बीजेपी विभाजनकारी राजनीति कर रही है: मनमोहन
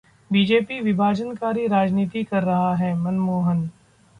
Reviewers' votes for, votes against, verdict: 0, 2, rejected